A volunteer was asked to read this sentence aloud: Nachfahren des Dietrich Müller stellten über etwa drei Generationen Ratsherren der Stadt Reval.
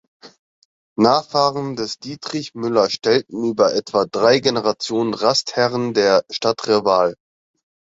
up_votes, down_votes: 3, 6